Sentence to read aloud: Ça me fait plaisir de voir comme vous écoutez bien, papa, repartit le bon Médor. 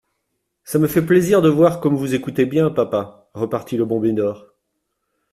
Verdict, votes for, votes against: accepted, 2, 0